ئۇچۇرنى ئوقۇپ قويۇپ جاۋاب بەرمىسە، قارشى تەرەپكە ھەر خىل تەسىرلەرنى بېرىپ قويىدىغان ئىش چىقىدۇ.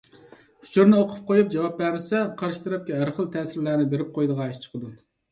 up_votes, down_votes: 2, 0